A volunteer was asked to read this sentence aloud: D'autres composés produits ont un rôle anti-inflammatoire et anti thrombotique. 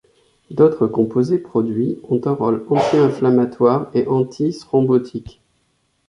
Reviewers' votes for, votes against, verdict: 2, 0, accepted